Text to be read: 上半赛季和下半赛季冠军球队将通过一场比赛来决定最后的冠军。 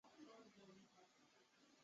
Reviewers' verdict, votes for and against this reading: rejected, 0, 2